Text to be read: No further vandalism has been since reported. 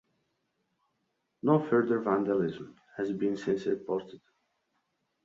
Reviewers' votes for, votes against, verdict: 2, 0, accepted